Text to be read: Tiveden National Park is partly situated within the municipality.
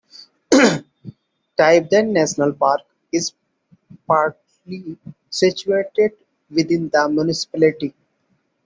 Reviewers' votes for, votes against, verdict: 1, 2, rejected